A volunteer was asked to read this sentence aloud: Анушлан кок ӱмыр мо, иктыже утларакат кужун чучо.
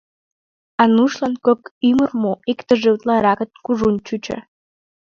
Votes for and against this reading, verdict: 2, 3, rejected